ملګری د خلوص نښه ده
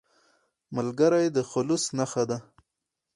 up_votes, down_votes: 0, 2